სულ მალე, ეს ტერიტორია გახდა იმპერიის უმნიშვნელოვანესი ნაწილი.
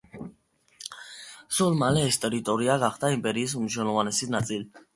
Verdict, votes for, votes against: rejected, 1, 2